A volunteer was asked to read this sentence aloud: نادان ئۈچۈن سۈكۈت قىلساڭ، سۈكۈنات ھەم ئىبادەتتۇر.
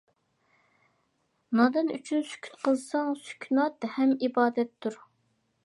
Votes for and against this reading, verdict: 2, 0, accepted